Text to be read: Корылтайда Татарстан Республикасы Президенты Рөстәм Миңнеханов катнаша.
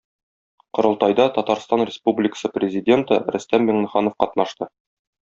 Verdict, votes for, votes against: rejected, 1, 2